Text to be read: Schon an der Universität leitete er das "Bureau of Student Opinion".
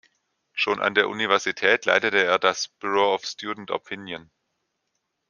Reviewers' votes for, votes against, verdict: 2, 0, accepted